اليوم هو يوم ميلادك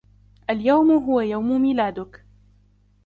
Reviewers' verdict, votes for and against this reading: rejected, 1, 2